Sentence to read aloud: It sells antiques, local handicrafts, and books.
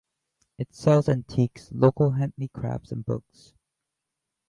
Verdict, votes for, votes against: rejected, 0, 2